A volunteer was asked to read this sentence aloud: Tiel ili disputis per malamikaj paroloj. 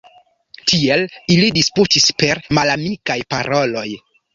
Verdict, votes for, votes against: accepted, 2, 1